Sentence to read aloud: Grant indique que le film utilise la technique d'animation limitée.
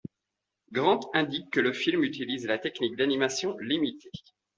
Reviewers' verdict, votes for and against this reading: accepted, 2, 0